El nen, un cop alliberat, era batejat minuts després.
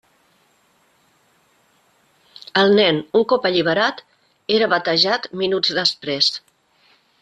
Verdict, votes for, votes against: accepted, 3, 0